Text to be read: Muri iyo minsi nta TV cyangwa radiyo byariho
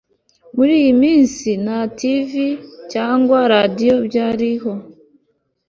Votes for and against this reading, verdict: 3, 0, accepted